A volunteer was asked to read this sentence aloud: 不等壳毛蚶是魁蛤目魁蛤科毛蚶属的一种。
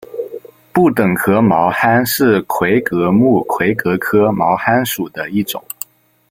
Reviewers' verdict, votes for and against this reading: accepted, 2, 0